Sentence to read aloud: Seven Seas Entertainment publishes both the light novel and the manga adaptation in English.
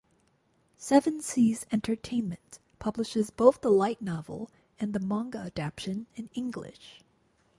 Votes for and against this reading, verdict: 0, 4, rejected